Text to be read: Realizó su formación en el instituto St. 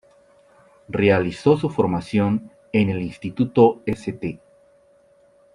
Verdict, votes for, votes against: accepted, 2, 0